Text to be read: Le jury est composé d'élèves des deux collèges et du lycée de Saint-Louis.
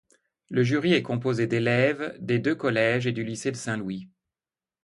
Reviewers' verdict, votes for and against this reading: accepted, 2, 0